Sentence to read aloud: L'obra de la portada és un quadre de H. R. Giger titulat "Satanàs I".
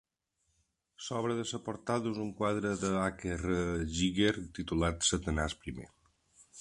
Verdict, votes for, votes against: rejected, 0, 2